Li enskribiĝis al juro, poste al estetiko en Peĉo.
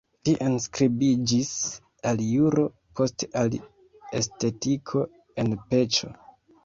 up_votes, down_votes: 2, 0